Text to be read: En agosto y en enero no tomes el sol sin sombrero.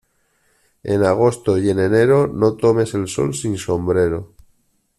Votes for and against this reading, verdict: 2, 0, accepted